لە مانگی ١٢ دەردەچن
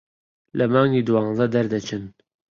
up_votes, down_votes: 0, 2